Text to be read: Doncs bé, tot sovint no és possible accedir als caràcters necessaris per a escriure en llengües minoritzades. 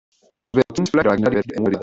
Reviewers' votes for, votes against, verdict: 0, 2, rejected